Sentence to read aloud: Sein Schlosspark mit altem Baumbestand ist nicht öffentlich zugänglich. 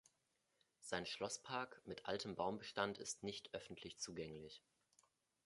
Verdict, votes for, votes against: rejected, 1, 2